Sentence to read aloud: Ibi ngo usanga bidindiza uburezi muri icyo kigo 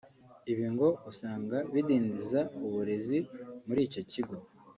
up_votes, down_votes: 3, 0